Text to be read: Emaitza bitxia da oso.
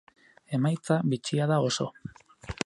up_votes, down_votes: 2, 0